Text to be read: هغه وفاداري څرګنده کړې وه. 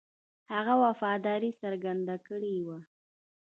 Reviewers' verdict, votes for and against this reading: accepted, 2, 0